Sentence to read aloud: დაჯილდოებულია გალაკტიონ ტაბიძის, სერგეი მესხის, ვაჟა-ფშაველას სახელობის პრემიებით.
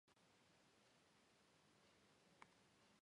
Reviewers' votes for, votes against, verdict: 0, 2, rejected